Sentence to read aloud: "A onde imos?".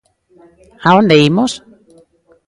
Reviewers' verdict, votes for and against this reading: rejected, 1, 2